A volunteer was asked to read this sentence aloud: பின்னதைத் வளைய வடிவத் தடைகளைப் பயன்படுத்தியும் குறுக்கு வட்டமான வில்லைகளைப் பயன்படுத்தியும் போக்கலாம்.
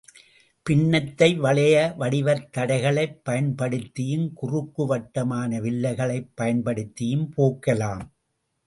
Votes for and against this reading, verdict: 2, 0, accepted